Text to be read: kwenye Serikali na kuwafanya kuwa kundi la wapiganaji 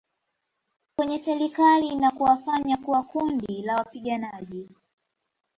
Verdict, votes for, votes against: rejected, 0, 2